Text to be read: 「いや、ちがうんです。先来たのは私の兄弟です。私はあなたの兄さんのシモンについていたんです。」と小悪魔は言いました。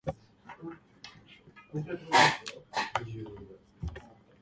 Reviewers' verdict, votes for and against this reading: rejected, 0, 2